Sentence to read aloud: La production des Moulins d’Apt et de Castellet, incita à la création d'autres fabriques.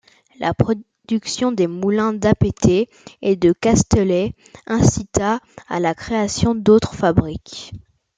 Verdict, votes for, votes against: rejected, 1, 2